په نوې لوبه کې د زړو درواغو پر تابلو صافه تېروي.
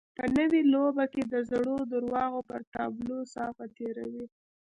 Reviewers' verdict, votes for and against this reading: rejected, 0, 2